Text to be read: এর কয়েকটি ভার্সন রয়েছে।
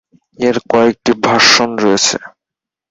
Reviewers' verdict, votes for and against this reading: accepted, 6, 4